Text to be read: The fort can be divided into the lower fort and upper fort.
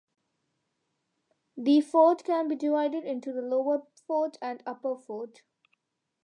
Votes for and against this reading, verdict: 2, 1, accepted